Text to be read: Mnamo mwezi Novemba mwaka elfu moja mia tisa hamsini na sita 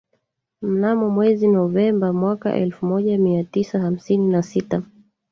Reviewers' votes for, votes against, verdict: 1, 2, rejected